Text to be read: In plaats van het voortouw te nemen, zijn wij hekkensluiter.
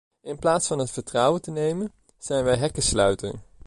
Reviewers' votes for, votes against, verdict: 1, 2, rejected